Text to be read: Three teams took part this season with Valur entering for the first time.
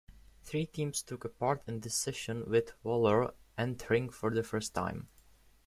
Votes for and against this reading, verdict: 0, 2, rejected